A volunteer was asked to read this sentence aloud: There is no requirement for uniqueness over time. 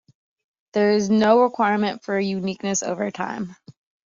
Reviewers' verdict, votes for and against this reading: accepted, 2, 0